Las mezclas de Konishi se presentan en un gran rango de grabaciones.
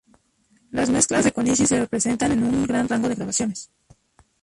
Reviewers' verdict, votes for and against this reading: rejected, 0, 2